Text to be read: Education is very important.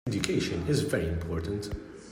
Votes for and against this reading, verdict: 1, 2, rejected